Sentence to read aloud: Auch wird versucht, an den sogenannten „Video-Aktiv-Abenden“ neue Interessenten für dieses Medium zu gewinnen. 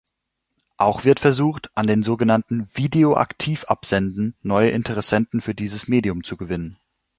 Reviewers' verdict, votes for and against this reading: rejected, 1, 2